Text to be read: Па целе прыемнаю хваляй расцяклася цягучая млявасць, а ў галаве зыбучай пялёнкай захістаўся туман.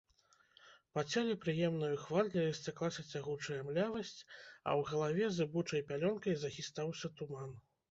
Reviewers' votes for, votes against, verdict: 2, 0, accepted